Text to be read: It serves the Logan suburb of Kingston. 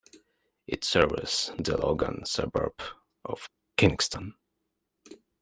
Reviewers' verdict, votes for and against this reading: accepted, 2, 0